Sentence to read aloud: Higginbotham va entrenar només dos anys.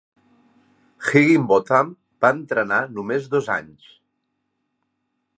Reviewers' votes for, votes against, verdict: 2, 0, accepted